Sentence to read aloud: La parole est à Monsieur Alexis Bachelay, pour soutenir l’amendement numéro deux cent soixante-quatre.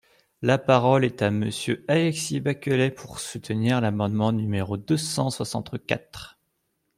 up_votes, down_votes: 1, 2